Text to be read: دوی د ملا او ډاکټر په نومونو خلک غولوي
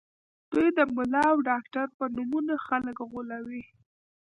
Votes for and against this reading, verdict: 0, 2, rejected